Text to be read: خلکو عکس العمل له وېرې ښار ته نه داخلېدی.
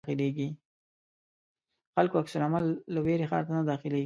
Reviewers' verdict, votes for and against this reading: rejected, 1, 2